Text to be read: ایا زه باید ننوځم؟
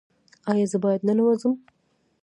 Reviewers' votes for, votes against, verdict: 0, 2, rejected